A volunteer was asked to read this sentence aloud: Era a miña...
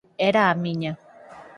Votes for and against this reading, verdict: 4, 0, accepted